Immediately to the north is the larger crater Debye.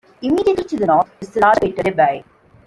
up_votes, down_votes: 0, 2